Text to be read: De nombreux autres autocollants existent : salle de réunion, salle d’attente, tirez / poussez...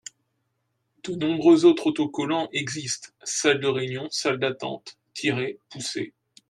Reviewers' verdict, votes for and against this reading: accepted, 2, 0